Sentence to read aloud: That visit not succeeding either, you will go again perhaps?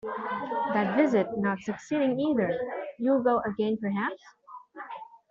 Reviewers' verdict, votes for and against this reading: rejected, 0, 2